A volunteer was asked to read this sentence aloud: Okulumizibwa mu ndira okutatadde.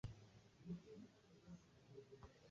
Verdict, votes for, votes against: rejected, 1, 2